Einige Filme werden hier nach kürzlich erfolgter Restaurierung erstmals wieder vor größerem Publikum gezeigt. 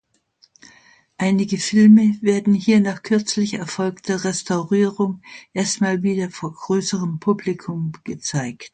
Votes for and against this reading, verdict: 0, 2, rejected